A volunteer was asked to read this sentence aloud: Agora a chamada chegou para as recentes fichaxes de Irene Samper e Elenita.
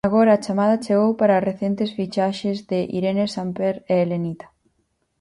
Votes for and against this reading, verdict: 4, 0, accepted